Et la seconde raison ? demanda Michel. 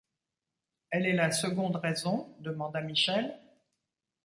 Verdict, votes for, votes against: rejected, 1, 2